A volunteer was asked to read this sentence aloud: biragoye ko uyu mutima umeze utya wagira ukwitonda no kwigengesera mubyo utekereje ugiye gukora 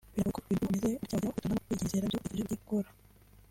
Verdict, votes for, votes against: rejected, 0, 2